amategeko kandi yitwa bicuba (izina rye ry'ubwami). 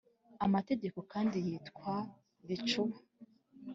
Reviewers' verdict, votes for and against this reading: rejected, 2, 3